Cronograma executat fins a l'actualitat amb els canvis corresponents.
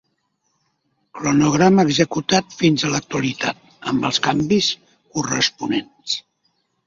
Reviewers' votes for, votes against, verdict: 2, 0, accepted